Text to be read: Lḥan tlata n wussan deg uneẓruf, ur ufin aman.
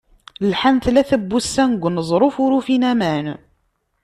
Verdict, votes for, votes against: accepted, 2, 0